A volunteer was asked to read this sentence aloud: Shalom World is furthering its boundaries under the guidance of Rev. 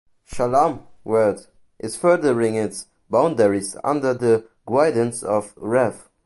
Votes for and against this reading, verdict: 0, 2, rejected